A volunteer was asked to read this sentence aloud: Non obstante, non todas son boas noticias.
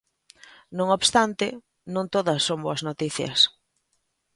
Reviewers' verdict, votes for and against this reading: accepted, 2, 0